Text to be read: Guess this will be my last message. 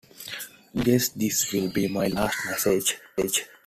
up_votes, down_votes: 2, 1